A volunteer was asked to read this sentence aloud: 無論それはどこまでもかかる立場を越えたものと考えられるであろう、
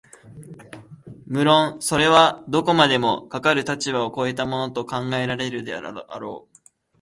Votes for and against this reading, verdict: 2, 3, rejected